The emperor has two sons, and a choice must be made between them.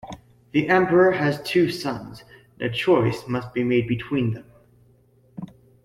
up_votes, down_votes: 1, 2